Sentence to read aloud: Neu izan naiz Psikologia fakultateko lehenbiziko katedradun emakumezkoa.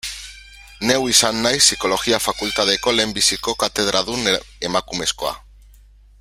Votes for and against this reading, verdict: 1, 2, rejected